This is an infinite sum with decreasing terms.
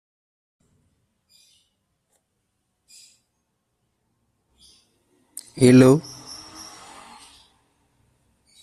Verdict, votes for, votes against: rejected, 0, 2